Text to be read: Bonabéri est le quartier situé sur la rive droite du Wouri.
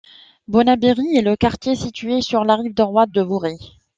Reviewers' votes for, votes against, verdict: 1, 2, rejected